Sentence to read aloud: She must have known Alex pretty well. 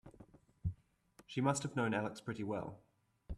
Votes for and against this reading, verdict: 4, 1, accepted